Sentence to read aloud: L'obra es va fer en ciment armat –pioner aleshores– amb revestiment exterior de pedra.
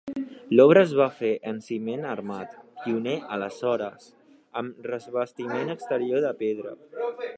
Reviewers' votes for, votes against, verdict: 2, 1, accepted